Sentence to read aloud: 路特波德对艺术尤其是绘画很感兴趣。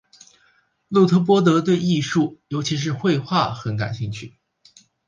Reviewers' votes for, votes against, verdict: 3, 0, accepted